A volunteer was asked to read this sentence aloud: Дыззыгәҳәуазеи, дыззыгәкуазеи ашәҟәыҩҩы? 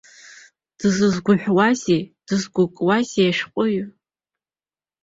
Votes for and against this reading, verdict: 2, 4, rejected